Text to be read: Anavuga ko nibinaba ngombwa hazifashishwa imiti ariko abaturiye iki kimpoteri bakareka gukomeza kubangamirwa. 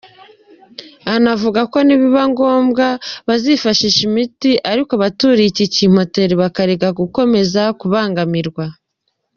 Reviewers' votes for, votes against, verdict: 0, 2, rejected